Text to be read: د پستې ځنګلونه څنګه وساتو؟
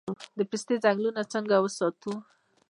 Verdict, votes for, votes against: rejected, 0, 2